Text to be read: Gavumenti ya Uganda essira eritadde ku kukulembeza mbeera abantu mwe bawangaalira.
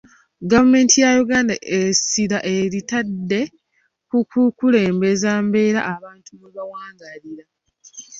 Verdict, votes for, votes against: accepted, 2, 1